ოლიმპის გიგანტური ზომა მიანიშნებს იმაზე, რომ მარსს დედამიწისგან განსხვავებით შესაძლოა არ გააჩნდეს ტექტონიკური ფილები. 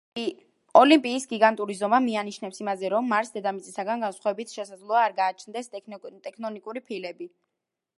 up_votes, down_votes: 2, 0